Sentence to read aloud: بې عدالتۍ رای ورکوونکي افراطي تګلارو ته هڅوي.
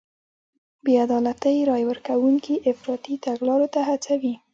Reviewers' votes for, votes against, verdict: 1, 2, rejected